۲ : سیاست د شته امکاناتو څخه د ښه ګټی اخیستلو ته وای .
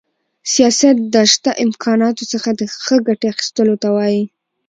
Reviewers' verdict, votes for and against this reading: rejected, 0, 2